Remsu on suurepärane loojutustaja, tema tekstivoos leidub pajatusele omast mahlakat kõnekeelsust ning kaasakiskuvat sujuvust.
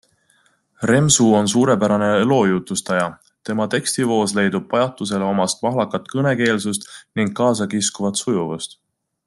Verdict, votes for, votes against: accepted, 2, 0